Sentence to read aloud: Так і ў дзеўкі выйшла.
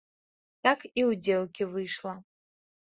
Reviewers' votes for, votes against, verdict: 2, 0, accepted